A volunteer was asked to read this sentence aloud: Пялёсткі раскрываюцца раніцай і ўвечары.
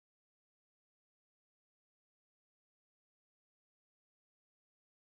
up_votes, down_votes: 0, 2